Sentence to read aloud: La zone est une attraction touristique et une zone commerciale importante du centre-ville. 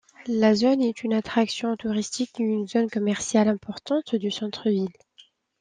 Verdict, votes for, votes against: accepted, 2, 0